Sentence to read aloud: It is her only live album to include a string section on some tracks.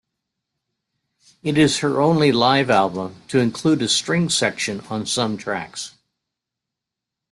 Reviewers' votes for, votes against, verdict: 2, 0, accepted